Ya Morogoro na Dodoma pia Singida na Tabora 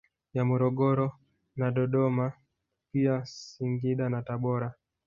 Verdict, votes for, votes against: rejected, 1, 2